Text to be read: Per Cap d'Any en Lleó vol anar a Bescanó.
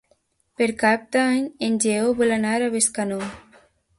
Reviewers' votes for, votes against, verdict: 2, 0, accepted